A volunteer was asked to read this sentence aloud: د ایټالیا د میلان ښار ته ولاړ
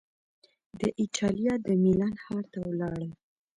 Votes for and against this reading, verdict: 3, 0, accepted